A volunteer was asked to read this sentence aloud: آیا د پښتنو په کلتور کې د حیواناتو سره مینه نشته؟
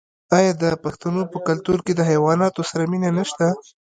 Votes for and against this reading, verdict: 0, 2, rejected